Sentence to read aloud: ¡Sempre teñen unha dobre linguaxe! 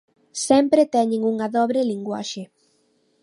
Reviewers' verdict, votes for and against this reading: accepted, 2, 0